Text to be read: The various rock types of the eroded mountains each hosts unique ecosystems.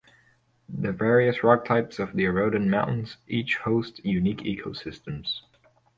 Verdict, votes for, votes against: accepted, 2, 0